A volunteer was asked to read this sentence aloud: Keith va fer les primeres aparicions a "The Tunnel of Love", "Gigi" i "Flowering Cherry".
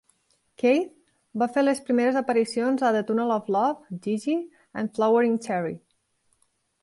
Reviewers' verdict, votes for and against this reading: rejected, 1, 2